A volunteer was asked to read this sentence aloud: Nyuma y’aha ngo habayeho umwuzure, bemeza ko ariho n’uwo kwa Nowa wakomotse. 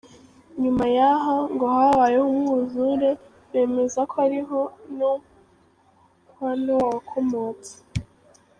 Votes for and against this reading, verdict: 0, 3, rejected